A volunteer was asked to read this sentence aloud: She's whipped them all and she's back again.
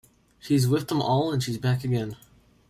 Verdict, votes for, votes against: accepted, 2, 1